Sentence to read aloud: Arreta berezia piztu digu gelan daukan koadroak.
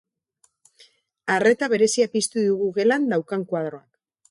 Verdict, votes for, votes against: rejected, 2, 2